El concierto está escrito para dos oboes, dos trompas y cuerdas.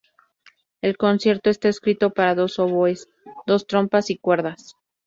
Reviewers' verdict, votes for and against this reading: accepted, 2, 0